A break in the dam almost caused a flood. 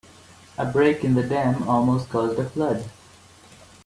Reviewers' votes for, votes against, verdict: 2, 1, accepted